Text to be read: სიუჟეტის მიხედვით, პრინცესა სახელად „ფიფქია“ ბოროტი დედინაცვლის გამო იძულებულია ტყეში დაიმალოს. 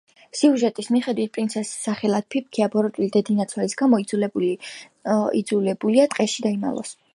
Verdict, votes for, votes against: accepted, 2, 0